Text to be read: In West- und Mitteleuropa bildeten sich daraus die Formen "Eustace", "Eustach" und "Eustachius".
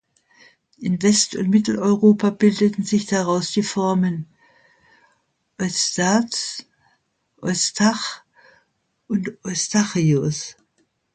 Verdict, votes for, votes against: rejected, 1, 2